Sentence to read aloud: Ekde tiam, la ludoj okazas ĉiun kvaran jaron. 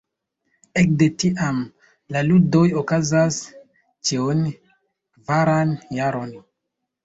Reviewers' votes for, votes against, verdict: 2, 0, accepted